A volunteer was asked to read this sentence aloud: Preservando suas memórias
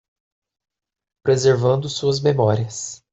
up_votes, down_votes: 2, 0